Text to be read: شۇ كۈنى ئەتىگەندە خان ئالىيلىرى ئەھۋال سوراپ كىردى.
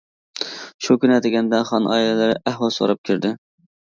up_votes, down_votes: 2, 0